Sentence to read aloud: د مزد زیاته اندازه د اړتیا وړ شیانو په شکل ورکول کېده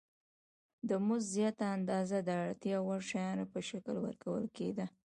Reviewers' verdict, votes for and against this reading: accepted, 2, 0